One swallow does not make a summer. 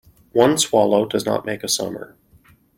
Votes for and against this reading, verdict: 2, 0, accepted